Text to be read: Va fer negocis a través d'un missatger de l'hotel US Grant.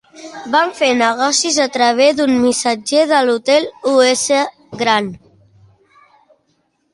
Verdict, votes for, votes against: rejected, 1, 2